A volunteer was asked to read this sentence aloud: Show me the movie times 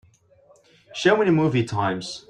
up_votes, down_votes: 2, 0